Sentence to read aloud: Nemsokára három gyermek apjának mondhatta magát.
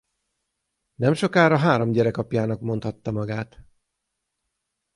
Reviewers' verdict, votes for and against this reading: rejected, 3, 6